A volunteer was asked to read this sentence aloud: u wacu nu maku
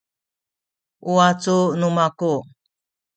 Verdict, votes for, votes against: rejected, 1, 2